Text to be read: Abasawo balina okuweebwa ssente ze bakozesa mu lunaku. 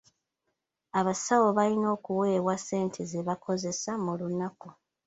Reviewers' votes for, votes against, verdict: 2, 1, accepted